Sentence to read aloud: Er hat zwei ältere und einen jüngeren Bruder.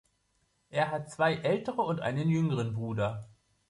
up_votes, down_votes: 4, 0